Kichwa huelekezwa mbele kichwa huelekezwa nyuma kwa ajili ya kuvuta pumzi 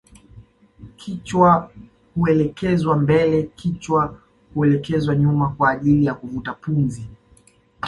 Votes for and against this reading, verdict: 2, 0, accepted